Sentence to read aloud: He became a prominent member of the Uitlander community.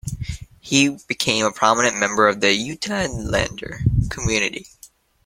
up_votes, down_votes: 0, 2